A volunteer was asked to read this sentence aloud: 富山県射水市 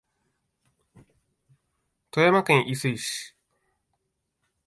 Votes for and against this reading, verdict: 0, 3, rejected